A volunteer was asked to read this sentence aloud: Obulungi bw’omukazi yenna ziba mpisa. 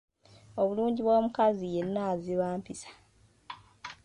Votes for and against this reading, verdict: 2, 1, accepted